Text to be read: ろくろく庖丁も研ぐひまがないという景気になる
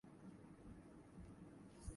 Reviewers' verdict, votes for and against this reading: rejected, 0, 3